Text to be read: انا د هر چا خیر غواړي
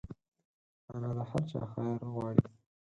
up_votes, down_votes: 4, 0